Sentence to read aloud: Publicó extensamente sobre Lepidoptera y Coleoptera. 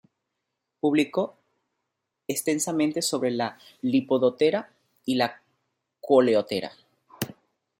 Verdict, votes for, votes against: rejected, 0, 2